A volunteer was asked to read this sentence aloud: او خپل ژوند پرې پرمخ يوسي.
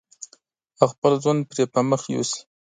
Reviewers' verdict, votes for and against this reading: accepted, 2, 0